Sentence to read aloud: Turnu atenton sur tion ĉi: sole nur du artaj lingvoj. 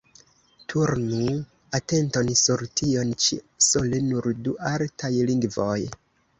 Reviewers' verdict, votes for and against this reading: accepted, 2, 1